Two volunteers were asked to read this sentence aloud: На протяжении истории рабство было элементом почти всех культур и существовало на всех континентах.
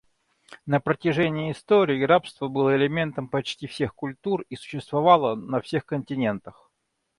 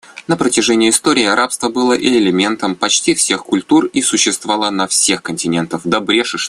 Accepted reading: first